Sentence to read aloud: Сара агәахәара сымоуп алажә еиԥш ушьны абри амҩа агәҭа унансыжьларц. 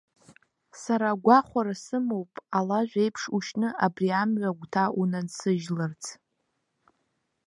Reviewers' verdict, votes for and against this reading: accepted, 2, 1